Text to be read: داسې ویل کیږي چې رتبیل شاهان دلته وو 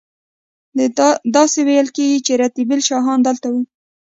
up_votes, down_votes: 1, 2